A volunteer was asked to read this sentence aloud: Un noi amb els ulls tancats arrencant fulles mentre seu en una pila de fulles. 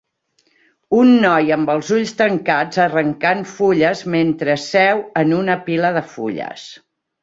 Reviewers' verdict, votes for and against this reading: accepted, 3, 0